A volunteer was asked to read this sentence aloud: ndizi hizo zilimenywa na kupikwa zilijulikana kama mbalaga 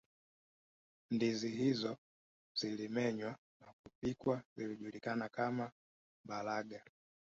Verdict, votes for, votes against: rejected, 1, 2